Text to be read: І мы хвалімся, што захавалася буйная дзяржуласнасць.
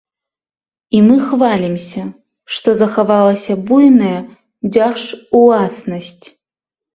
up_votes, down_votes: 2, 0